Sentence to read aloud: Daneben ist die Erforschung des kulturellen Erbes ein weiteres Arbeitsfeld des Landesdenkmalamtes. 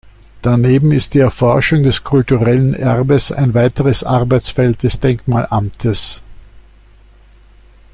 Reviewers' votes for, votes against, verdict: 0, 2, rejected